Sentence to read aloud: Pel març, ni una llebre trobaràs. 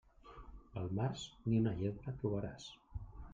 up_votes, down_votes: 1, 2